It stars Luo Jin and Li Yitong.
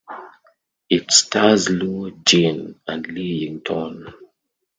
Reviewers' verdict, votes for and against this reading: rejected, 0, 2